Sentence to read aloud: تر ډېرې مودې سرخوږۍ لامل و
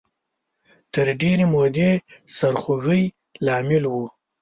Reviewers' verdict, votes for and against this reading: accepted, 2, 0